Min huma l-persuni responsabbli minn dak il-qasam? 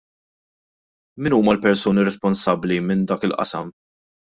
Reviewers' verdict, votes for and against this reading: accepted, 2, 0